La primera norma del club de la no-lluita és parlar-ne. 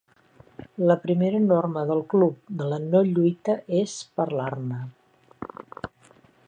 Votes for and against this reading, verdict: 2, 0, accepted